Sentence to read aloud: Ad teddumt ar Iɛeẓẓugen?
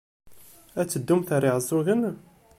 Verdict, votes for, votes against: accepted, 2, 0